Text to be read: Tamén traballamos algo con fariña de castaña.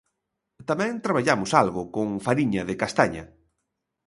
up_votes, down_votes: 2, 0